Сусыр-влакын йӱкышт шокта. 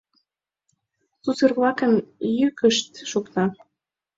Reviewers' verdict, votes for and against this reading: accepted, 2, 0